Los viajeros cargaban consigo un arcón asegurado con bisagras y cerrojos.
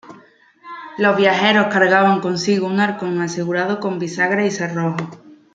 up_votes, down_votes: 2, 0